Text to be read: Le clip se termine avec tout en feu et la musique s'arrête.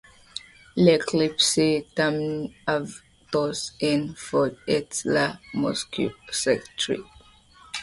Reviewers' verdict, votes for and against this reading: rejected, 0, 2